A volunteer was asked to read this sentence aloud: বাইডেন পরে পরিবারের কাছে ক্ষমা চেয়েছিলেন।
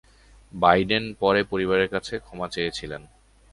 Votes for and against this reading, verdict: 2, 0, accepted